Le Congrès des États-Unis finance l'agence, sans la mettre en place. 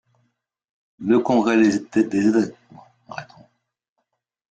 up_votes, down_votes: 0, 2